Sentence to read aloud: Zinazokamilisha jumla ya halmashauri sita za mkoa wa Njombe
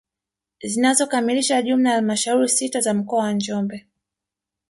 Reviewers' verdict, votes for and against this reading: rejected, 0, 2